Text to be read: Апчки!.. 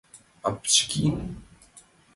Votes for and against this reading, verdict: 2, 0, accepted